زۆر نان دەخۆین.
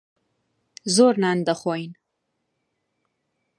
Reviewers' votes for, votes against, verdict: 2, 0, accepted